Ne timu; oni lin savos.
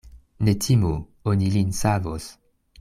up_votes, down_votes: 1, 2